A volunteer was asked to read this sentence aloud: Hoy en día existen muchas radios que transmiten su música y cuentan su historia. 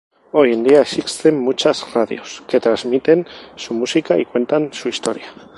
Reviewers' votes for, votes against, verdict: 2, 2, rejected